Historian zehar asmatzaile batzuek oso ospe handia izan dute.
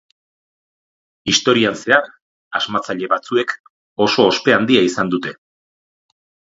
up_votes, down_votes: 4, 0